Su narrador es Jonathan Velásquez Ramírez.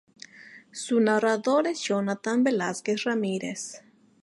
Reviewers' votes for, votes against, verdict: 2, 2, rejected